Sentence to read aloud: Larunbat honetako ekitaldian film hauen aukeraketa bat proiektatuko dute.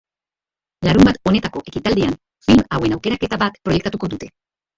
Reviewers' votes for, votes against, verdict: 1, 2, rejected